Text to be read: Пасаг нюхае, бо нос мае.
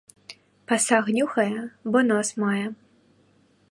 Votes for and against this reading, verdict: 2, 0, accepted